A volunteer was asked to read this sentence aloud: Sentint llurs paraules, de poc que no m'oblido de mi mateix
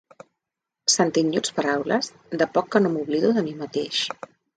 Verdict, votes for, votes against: rejected, 0, 2